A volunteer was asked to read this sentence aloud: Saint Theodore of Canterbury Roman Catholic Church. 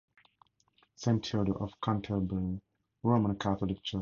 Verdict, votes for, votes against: rejected, 0, 4